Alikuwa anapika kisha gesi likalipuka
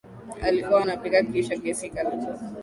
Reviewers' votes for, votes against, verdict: 0, 2, rejected